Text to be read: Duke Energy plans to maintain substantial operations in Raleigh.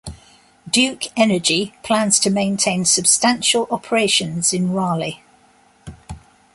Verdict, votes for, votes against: accepted, 2, 0